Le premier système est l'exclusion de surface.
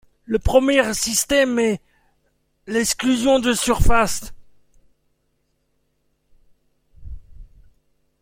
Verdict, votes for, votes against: accepted, 2, 0